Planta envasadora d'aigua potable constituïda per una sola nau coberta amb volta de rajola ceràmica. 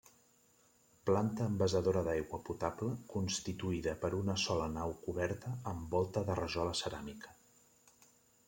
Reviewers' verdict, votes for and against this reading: rejected, 0, 2